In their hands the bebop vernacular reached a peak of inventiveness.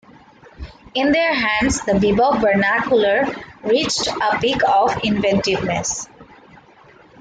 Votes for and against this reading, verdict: 2, 1, accepted